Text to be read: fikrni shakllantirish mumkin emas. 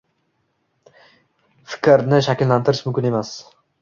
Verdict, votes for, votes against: accepted, 2, 1